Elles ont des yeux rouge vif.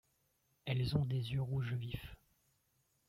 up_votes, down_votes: 2, 0